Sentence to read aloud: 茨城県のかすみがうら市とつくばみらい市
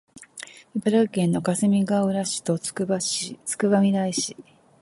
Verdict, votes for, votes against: rejected, 1, 2